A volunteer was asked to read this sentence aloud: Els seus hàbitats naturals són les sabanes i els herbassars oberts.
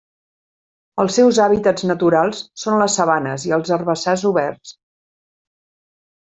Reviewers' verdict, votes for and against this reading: accepted, 3, 0